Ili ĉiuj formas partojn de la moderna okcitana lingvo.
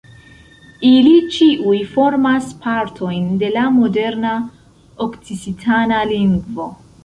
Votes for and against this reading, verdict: 2, 3, rejected